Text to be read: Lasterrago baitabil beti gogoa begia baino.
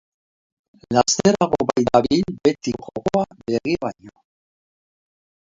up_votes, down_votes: 1, 3